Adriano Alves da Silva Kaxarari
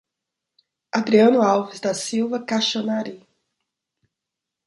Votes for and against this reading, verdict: 0, 2, rejected